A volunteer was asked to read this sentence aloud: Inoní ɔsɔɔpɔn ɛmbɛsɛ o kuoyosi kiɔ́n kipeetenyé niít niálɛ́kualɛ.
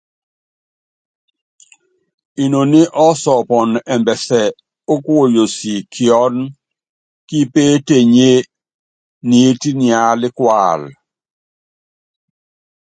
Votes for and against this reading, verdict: 2, 0, accepted